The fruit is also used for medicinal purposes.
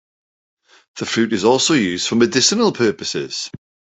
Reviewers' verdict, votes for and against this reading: accepted, 2, 1